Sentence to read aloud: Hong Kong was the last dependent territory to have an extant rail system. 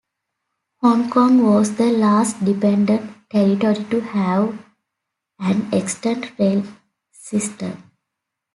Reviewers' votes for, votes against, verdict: 2, 1, accepted